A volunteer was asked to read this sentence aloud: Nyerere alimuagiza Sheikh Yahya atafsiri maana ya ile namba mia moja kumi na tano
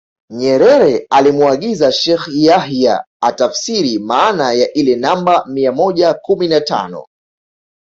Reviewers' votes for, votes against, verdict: 1, 2, rejected